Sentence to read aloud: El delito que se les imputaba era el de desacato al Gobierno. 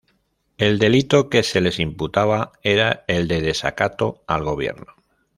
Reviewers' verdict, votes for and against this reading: accepted, 2, 0